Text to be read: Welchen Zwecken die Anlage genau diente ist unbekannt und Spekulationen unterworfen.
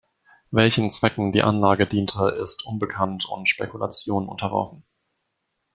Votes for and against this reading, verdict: 0, 2, rejected